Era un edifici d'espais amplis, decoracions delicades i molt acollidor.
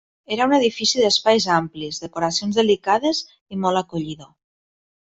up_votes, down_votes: 2, 0